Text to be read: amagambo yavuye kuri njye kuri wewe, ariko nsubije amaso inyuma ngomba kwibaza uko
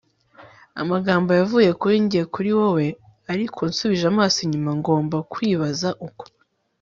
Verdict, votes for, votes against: accepted, 4, 0